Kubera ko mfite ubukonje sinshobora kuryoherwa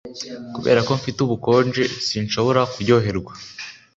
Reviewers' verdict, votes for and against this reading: accepted, 3, 0